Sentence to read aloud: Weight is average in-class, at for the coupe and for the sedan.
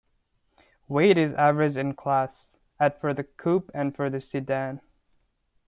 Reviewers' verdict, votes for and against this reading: accepted, 2, 1